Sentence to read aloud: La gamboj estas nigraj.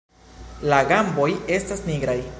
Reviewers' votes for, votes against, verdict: 0, 2, rejected